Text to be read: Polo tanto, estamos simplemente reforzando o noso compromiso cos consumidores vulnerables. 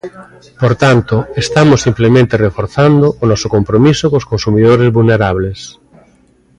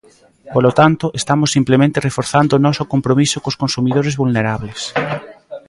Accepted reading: second